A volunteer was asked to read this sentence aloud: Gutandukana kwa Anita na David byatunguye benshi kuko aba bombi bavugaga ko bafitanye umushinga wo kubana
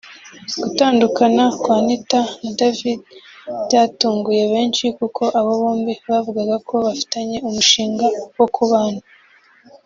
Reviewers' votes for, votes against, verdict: 2, 0, accepted